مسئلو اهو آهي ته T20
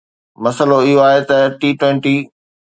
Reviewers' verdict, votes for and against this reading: rejected, 0, 2